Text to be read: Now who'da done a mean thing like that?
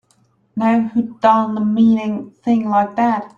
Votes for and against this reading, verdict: 2, 0, accepted